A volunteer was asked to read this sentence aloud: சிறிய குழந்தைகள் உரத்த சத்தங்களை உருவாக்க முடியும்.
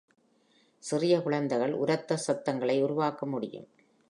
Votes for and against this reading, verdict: 2, 0, accepted